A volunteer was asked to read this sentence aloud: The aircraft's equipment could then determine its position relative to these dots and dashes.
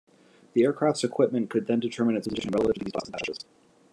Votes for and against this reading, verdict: 0, 2, rejected